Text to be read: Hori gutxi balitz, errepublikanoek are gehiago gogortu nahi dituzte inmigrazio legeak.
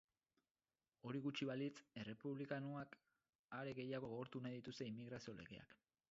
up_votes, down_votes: 0, 6